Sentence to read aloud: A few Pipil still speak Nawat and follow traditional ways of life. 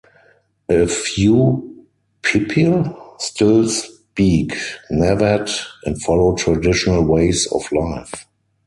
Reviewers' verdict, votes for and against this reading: accepted, 4, 0